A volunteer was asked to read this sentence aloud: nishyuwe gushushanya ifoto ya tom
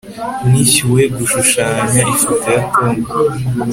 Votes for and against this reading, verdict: 2, 0, accepted